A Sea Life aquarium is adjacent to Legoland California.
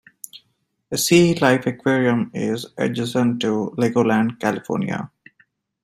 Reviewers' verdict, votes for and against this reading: rejected, 1, 2